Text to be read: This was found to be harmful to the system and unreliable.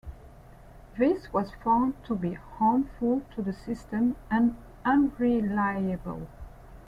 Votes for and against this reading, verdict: 2, 0, accepted